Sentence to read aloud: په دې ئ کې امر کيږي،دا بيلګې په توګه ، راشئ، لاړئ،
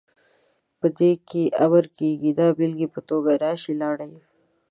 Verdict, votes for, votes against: rejected, 1, 2